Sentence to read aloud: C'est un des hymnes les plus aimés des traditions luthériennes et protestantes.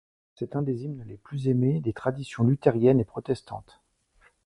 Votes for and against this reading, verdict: 1, 2, rejected